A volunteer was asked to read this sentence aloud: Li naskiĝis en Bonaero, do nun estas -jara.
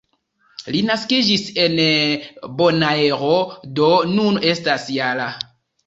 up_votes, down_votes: 1, 2